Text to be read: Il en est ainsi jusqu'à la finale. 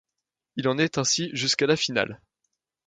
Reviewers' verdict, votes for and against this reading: accepted, 2, 0